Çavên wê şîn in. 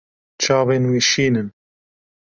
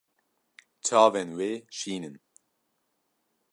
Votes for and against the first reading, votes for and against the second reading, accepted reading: 0, 2, 2, 0, second